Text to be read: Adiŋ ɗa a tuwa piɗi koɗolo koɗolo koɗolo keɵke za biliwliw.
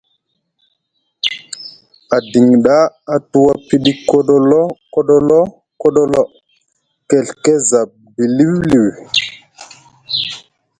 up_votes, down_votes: 2, 0